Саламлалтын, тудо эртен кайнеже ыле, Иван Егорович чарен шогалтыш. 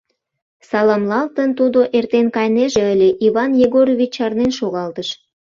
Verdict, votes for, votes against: rejected, 0, 2